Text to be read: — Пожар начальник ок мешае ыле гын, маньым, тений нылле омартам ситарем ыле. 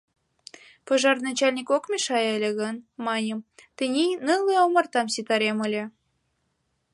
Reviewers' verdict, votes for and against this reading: accepted, 2, 0